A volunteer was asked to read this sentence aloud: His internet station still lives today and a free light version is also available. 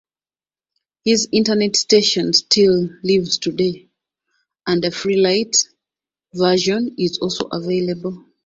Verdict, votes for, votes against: accepted, 2, 0